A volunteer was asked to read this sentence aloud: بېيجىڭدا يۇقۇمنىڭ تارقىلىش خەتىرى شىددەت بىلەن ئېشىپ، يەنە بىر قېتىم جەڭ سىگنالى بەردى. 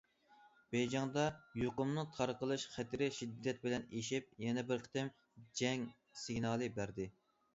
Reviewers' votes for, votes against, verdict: 2, 0, accepted